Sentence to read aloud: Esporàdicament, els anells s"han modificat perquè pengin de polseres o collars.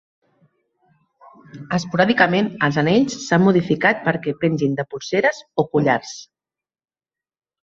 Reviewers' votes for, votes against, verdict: 2, 0, accepted